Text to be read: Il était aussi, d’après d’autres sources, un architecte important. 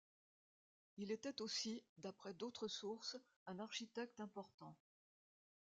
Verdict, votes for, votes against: accepted, 2, 1